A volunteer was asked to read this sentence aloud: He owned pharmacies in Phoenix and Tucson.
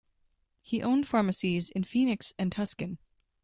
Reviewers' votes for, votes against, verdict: 1, 2, rejected